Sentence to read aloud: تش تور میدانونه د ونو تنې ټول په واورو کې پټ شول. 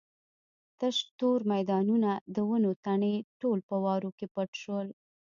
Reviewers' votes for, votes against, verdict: 2, 0, accepted